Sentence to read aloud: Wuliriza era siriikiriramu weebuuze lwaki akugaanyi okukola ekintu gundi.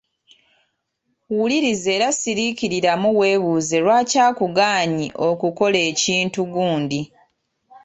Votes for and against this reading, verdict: 2, 0, accepted